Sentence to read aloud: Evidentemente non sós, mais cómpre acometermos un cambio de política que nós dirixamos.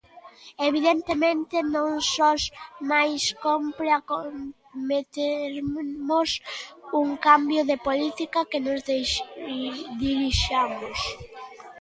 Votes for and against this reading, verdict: 0, 2, rejected